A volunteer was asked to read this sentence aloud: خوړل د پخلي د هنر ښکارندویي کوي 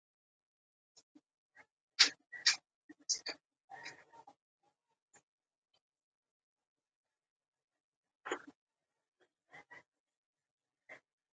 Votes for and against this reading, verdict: 0, 3, rejected